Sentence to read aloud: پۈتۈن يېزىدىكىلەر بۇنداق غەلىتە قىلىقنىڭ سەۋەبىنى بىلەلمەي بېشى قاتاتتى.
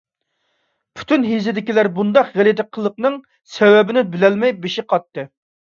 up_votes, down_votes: 1, 2